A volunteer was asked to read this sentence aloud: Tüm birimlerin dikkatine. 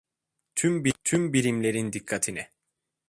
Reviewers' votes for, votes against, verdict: 0, 2, rejected